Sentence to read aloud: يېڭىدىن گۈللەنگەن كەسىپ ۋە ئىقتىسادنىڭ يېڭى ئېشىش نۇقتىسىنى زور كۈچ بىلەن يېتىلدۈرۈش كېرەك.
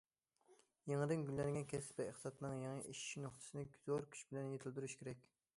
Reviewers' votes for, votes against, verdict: 2, 1, accepted